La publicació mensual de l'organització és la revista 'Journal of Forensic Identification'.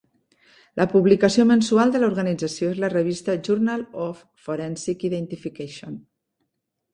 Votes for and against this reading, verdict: 2, 0, accepted